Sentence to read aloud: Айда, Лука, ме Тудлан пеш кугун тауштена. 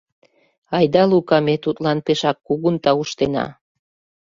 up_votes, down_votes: 1, 2